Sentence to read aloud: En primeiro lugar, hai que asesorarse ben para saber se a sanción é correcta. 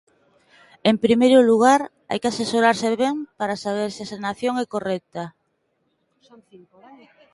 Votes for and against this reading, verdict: 0, 2, rejected